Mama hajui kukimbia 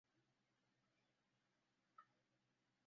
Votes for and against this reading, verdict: 0, 2, rejected